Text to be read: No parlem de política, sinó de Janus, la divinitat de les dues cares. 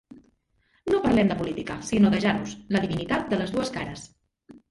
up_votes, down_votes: 1, 2